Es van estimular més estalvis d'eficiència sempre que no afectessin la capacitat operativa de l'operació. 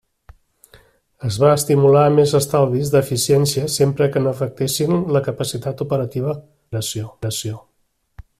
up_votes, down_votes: 0, 2